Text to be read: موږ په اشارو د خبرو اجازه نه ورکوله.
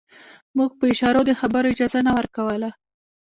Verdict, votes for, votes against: accepted, 2, 0